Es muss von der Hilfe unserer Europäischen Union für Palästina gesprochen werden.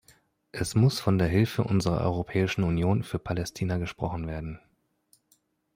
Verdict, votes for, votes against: accepted, 2, 0